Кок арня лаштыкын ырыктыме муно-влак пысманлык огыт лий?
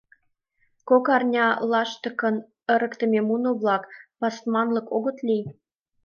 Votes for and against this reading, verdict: 1, 2, rejected